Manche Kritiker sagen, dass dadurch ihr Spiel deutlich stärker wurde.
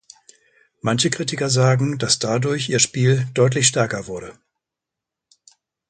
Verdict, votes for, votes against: accepted, 2, 0